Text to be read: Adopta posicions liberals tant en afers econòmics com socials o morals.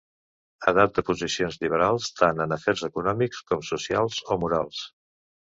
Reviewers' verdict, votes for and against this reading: rejected, 0, 2